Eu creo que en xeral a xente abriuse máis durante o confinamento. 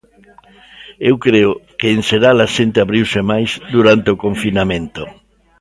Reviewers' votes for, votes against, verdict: 2, 0, accepted